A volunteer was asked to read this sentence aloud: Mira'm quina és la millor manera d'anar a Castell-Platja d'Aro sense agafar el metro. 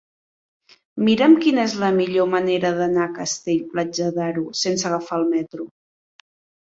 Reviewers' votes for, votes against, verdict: 2, 1, accepted